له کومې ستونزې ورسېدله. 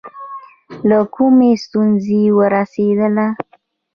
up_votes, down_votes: 2, 0